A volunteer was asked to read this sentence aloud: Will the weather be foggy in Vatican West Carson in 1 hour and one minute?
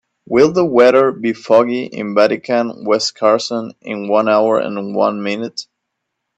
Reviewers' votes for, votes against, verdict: 0, 2, rejected